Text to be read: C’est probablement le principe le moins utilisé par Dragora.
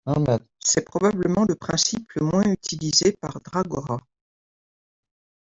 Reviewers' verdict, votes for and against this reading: rejected, 1, 2